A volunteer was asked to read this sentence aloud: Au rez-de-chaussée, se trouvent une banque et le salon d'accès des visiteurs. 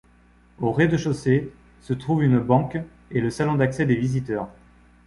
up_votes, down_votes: 2, 0